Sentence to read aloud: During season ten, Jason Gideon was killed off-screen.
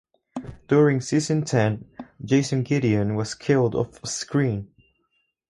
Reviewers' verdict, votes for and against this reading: rejected, 2, 2